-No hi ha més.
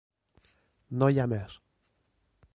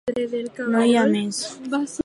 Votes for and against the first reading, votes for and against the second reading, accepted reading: 2, 0, 0, 4, first